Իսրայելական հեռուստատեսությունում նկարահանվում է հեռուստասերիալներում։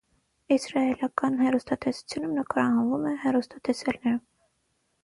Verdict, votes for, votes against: rejected, 0, 6